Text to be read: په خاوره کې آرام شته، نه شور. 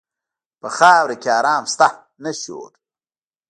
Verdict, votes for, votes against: rejected, 0, 2